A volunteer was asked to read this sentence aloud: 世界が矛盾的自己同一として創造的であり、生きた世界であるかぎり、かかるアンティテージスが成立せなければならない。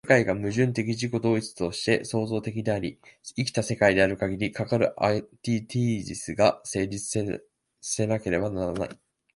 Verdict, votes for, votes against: rejected, 1, 2